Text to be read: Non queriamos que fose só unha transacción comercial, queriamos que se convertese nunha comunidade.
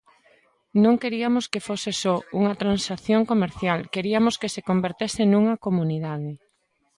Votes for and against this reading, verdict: 2, 1, accepted